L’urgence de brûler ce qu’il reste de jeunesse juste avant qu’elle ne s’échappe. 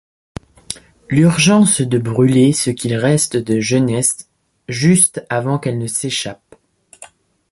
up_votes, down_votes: 2, 0